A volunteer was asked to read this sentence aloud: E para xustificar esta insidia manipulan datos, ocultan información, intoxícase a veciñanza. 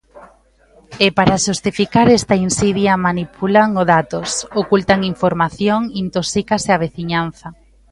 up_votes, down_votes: 0, 2